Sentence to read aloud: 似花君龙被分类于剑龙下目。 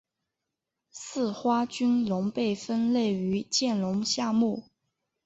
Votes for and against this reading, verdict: 3, 0, accepted